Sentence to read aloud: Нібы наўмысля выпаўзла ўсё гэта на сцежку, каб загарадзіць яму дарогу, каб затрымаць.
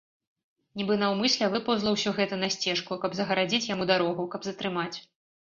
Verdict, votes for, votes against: accepted, 2, 0